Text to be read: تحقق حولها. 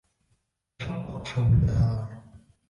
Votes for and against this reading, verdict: 1, 2, rejected